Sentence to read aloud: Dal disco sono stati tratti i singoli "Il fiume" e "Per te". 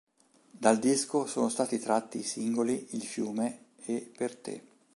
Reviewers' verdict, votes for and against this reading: accepted, 2, 0